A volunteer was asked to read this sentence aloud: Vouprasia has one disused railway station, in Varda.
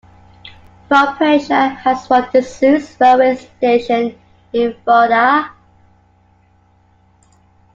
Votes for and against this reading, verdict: 1, 2, rejected